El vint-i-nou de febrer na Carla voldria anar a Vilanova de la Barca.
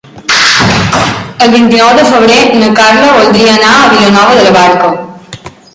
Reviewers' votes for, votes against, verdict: 0, 2, rejected